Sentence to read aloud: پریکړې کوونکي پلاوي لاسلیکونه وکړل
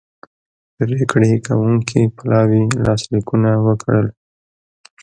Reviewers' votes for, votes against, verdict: 2, 0, accepted